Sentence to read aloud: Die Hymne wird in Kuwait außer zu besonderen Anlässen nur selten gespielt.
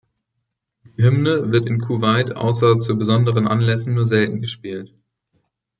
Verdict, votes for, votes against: rejected, 0, 2